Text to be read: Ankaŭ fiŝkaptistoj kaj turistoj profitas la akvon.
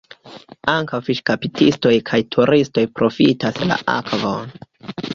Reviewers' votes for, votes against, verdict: 2, 1, accepted